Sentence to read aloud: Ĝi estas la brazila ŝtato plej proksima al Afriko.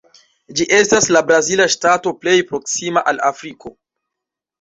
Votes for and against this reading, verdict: 1, 2, rejected